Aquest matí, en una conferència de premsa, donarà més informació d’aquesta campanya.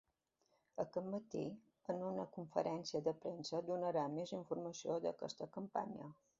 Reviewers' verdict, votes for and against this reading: rejected, 1, 2